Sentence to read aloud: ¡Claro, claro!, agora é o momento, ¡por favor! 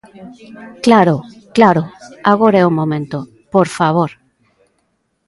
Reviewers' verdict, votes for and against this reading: rejected, 1, 2